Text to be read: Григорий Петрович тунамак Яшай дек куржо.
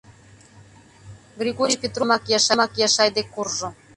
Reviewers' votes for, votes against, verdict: 0, 2, rejected